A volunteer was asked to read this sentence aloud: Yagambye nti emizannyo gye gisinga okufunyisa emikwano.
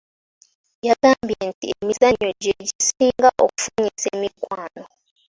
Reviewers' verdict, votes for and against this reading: accepted, 3, 2